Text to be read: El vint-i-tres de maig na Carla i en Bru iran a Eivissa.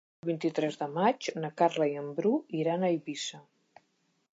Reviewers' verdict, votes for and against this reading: accepted, 3, 1